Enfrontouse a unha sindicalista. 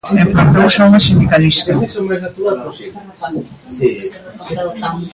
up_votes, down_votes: 0, 2